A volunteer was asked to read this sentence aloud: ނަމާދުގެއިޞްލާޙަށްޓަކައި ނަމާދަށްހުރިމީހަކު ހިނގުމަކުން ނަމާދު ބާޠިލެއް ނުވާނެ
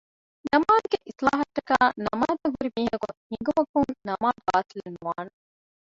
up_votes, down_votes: 0, 2